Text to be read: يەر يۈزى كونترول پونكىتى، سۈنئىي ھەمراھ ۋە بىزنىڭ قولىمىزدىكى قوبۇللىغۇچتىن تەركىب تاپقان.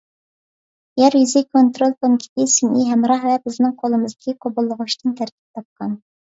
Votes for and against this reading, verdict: 2, 0, accepted